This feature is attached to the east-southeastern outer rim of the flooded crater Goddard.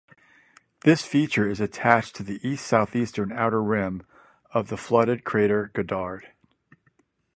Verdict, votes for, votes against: accepted, 2, 0